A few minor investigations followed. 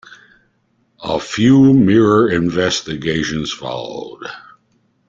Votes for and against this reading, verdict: 0, 2, rejected